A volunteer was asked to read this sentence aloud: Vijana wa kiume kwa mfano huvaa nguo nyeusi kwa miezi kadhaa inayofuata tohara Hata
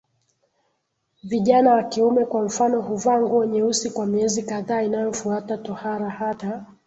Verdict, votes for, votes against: accepted, 2, 0